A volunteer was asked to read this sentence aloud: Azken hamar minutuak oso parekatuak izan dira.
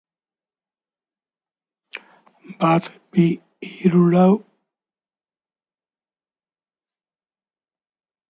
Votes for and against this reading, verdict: 0, 2, rejected